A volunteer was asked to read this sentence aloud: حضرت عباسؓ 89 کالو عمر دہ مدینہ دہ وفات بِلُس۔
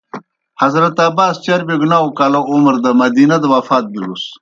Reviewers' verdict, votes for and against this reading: rejected, 0, 2